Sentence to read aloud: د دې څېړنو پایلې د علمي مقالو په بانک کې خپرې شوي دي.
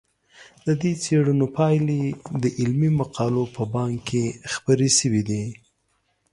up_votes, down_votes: 2, 0